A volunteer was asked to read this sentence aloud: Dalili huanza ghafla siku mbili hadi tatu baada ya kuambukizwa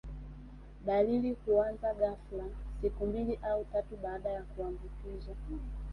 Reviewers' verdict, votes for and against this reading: rejected, 0, 2